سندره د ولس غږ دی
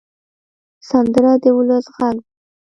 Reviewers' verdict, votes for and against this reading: rejected, 1, 2